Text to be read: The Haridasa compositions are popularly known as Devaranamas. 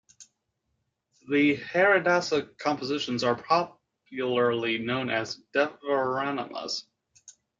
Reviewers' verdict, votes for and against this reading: rejected, 1, 2